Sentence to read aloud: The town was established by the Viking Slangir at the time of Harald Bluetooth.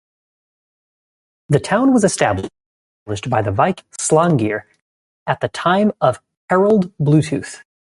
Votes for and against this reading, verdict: 1, 2, rejected